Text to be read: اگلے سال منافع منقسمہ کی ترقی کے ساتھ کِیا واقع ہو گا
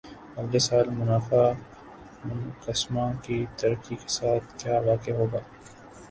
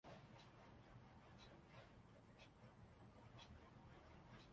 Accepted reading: first